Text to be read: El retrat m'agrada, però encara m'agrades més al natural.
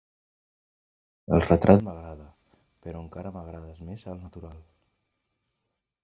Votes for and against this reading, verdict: 1, 2, rejected